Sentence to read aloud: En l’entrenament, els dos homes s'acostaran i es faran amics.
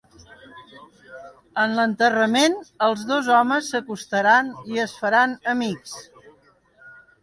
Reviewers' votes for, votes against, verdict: 1, 3, rejected